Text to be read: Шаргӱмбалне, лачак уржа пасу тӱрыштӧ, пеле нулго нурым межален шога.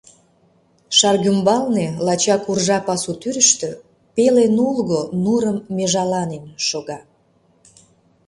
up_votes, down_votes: 0, 2